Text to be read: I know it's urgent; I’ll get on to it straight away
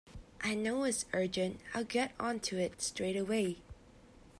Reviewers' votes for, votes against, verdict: 2, 1, accepted